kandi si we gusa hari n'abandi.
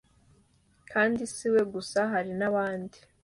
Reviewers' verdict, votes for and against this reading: accepted, 2, 1